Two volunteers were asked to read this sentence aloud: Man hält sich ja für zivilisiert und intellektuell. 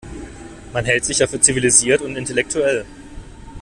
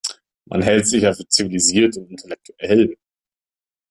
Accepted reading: first